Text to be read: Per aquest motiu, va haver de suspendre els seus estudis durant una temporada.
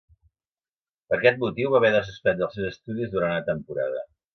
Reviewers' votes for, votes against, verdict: 0, 2, rejected